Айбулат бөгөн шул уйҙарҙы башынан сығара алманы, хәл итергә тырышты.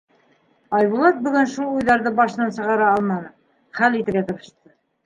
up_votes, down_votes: 0, 2